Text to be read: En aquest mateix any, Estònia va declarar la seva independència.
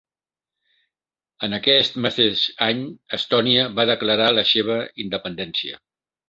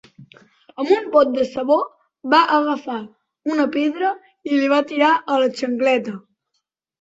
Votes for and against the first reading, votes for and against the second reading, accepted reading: 3, 0, 0, 2, first